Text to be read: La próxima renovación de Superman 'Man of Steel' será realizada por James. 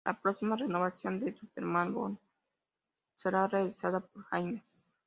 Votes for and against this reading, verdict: 0, 2, rejected